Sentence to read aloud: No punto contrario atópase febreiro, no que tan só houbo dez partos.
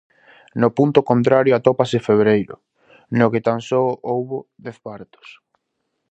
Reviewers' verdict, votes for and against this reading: accepted, 2, 0